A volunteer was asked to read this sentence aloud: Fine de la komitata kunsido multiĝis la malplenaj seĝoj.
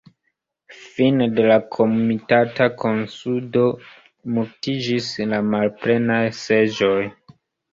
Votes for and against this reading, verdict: 0, 2, rejected